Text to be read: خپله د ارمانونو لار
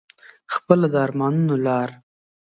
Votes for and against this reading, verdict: 2, 0, accepted